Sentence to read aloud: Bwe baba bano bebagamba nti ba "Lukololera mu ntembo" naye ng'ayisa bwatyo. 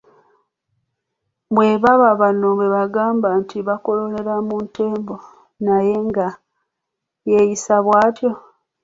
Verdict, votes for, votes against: accepted, 2, 1